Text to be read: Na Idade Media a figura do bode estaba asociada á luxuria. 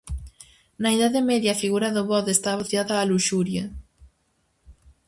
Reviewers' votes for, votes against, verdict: 0, 4, rejected